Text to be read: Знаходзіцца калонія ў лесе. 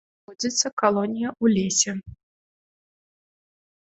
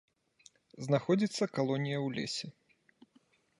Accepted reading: second